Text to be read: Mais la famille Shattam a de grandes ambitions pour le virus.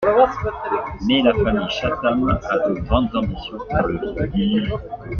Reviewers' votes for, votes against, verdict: 0, 2, rejected